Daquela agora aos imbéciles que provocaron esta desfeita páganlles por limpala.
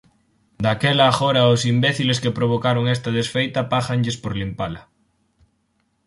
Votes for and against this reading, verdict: 4, 0, accepted